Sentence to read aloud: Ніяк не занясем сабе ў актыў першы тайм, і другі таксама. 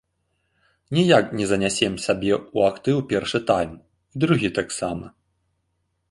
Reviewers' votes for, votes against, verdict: 0, 2, rejected